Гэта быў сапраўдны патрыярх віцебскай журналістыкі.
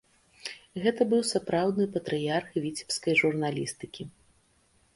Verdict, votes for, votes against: accepted, 2, 0